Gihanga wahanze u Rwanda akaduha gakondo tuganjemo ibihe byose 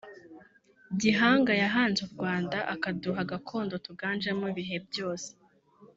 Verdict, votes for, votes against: rejected, 0, 2